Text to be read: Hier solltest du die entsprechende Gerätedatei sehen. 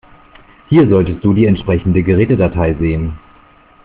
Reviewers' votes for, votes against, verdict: 2, 0, accepted